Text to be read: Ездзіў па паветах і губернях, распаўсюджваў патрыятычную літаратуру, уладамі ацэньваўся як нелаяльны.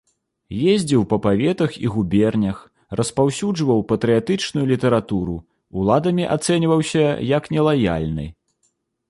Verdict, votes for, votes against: accepted, 2, 0